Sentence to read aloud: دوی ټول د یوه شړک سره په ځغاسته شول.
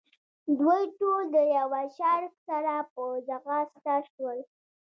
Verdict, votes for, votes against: rejected, 1, 2